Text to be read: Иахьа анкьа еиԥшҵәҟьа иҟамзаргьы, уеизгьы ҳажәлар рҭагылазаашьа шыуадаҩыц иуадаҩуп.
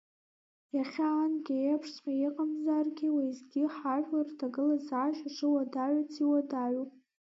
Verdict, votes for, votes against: rejected, 1, 2